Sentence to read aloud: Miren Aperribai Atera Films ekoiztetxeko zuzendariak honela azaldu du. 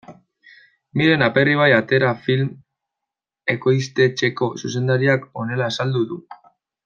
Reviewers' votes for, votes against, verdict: 2, 1, accepted